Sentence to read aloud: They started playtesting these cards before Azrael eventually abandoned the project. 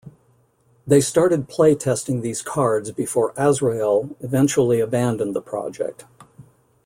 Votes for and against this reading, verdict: 2, 0, accepted